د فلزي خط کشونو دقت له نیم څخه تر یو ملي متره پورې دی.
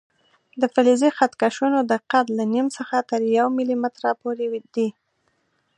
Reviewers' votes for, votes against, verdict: 2, 0, accepted